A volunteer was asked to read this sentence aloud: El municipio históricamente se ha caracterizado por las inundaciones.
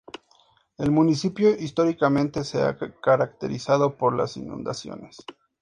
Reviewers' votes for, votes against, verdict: 2, 0, accepted